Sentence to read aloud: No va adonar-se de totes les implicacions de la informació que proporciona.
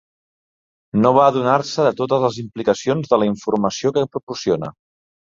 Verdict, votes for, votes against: accepted, 4, 0